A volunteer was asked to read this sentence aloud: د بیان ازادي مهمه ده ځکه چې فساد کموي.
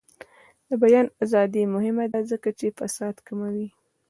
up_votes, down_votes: 2, 0